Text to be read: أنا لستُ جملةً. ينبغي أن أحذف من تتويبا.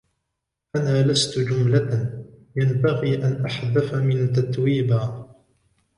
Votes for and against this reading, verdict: 0, 3, rejected